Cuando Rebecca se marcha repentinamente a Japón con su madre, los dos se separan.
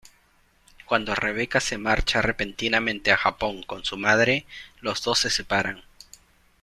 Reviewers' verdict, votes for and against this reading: accepted, 2, 0